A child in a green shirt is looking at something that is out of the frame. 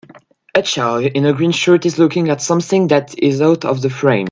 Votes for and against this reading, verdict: 2, 0, accepted